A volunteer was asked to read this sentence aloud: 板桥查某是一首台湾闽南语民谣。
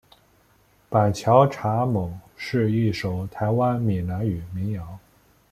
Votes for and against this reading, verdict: 2, 1, accepted